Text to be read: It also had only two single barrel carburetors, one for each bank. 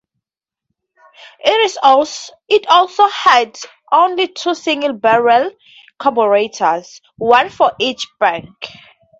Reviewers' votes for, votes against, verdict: 2, 0, accepted